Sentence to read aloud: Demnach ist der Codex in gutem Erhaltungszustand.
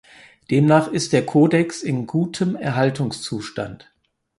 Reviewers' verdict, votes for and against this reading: accepted, 4, 0